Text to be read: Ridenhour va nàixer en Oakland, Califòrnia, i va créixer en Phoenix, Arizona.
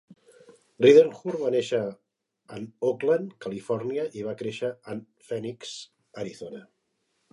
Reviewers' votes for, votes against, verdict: 5, 8, rejected